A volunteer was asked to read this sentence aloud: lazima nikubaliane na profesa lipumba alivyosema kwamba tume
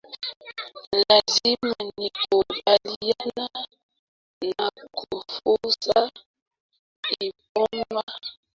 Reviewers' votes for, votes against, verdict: 0, 2, rejected